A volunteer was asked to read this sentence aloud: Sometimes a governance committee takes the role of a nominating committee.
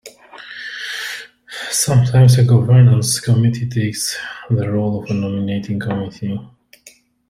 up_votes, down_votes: 1, 2